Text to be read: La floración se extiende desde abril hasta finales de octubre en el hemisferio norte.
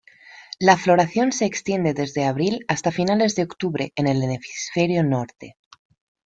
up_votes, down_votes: 0, 2